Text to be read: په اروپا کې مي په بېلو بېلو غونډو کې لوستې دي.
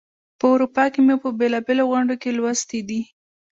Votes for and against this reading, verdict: 2, 1, accepted